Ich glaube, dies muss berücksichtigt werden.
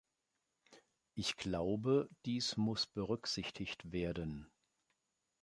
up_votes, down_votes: 2, 0